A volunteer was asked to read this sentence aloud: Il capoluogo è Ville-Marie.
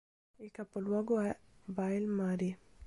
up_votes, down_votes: 1, 2